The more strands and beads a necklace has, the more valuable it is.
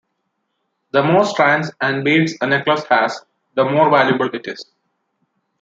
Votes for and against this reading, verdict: 2, 0, accepted